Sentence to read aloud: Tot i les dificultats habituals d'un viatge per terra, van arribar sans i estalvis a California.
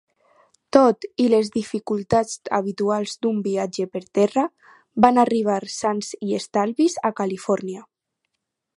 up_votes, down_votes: 4, 0